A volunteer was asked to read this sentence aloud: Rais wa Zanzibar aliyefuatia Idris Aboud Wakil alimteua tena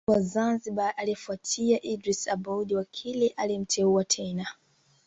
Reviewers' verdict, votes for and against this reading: accepted, 2, 1